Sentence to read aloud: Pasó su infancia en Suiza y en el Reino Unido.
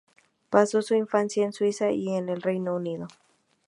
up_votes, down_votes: 2, 0